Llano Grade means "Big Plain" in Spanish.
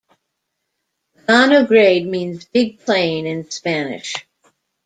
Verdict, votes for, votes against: accepted, 2, 1